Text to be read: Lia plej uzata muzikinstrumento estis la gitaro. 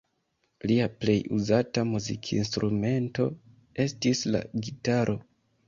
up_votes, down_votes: 2, 0